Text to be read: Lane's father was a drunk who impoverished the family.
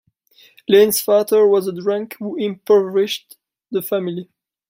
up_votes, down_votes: 0, 2